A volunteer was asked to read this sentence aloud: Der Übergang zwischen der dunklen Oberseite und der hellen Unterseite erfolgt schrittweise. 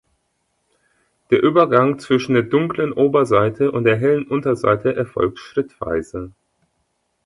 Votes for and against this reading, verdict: 3, 0, accepted